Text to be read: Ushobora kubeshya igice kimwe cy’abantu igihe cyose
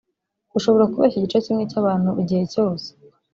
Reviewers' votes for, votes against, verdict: 1, 2, rejected